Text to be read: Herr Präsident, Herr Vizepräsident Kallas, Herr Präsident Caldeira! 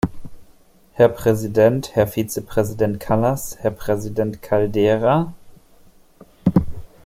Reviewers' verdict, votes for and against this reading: accepted, 2, 0